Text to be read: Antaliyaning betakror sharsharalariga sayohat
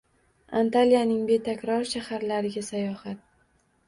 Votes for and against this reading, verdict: 1, 2, rejected